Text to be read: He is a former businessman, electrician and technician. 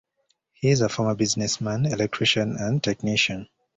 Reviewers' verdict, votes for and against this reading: accepted, 2, 0